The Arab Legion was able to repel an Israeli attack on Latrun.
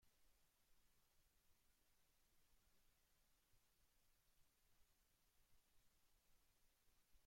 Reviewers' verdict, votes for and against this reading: rejected, 0, 2